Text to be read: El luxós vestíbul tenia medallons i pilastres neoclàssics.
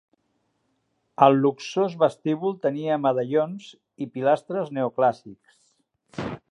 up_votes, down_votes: 1, 2